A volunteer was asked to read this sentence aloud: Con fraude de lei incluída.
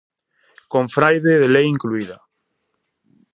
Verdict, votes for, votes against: rejected, 0, 2